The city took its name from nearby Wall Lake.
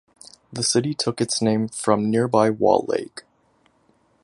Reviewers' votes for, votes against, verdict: 2, 0, accepted